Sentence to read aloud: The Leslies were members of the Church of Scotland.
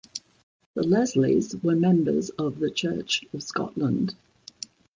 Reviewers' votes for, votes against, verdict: 2, 0, accepted